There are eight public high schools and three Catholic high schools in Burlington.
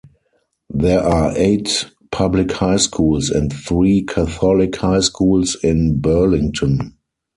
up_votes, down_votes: 4, 2